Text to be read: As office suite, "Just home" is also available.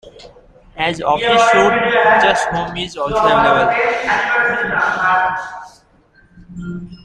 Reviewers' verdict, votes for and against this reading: rejected, 1, 2